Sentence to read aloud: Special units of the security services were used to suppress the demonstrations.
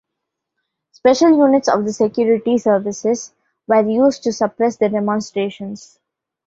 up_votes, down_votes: 2, 0